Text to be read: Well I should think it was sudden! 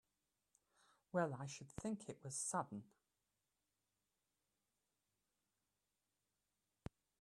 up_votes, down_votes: 1, 2